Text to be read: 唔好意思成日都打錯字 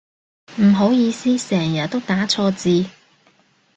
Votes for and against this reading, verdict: 2, 0, accepted